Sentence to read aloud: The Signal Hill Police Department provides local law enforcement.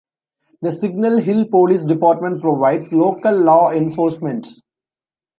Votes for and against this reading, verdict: 2, 0, accepted